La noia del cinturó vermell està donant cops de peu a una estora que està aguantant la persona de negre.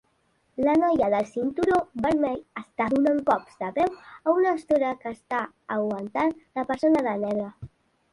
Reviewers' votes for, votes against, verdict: 2, 0, accepted